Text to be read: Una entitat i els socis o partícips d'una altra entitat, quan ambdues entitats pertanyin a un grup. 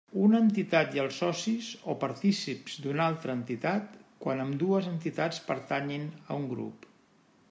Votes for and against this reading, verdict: 2, 0, accepted